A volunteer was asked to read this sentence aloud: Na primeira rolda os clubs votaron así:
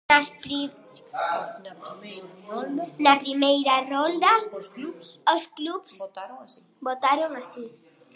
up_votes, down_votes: 0, 2